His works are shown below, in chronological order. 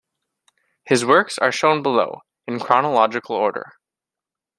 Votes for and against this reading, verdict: 2, 0, accepted